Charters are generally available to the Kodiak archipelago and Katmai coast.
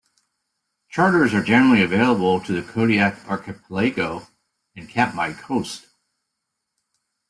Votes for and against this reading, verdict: 0, 2, rejected